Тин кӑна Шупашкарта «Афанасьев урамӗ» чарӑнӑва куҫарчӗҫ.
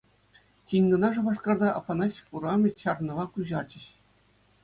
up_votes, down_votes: 2, 0